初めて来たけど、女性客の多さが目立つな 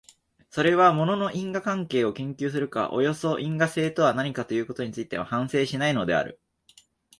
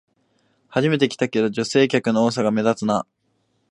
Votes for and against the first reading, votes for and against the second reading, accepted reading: 0, 3, 2, 0, second